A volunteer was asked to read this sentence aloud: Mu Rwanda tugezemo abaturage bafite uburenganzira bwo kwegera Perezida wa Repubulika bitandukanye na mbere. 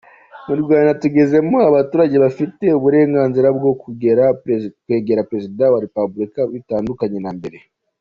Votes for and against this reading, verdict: 1, 2, rejected